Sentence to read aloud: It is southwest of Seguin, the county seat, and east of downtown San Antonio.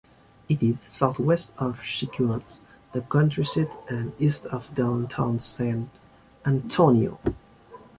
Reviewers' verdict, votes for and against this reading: rejected, 0, 2